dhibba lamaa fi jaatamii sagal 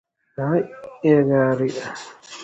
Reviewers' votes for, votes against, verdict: 0, 3, rejected